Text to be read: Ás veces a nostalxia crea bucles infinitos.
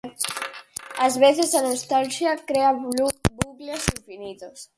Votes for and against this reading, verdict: 0, 4, rejected